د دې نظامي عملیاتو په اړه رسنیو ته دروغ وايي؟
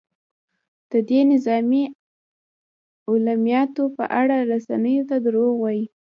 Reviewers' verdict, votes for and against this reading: rejected, 1, 2